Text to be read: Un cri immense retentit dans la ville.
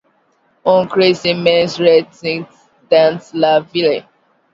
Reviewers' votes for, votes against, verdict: 2, 0, accepted